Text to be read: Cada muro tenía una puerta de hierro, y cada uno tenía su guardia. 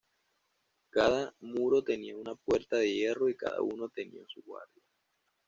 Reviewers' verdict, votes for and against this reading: rejected, 1, 2